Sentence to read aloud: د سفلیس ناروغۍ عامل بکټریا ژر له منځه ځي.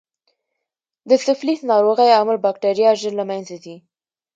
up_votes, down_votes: 2, 0